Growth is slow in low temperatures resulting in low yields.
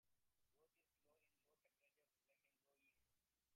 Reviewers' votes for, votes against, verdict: 1, 2, rejected